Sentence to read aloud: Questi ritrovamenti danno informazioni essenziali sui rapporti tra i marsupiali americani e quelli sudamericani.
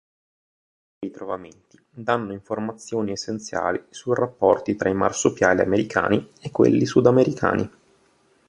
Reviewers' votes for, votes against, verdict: 0, 2, rejected